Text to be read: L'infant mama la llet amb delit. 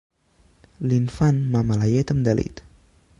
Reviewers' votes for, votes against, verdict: 2, 0, accepted